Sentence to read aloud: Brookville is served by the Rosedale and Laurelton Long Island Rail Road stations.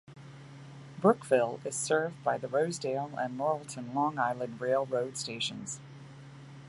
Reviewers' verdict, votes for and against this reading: accepted, 2, 0